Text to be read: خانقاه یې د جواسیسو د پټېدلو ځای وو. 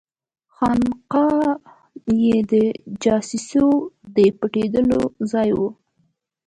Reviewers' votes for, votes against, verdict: 0, 2, rejected